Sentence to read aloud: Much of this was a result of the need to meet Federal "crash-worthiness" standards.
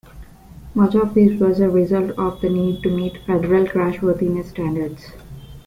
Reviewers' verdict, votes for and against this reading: accepted, 2, 1